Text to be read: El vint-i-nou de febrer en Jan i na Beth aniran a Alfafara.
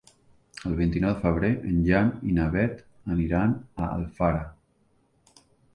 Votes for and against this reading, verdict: 0, 2, rejected